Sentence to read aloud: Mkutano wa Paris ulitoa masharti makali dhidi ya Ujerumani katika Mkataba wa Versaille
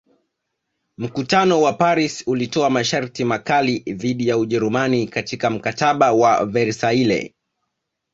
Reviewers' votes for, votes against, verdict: 5, 0, accepted